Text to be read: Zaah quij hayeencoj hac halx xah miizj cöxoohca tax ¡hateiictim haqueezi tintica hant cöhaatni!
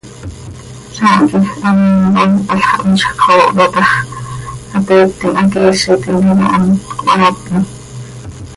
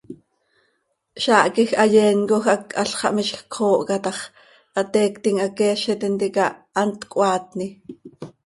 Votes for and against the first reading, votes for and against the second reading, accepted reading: 0, 2, 2, 0, second